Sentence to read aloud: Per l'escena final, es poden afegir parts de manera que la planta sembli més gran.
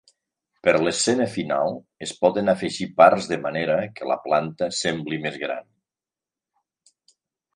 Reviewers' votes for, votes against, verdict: 2, 0, accepted